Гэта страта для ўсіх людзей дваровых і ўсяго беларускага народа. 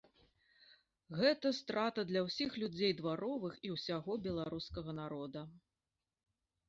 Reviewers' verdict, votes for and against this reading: accepted, 2, 1